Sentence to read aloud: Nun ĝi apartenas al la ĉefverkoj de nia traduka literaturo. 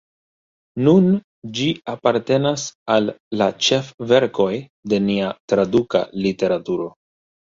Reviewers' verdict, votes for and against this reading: rejected, 1, 2